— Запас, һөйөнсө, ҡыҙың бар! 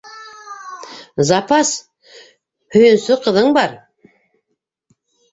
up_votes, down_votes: 0, 2